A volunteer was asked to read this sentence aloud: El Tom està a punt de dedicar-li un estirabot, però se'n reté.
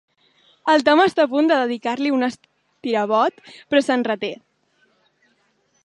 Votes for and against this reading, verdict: 2, 0, accepted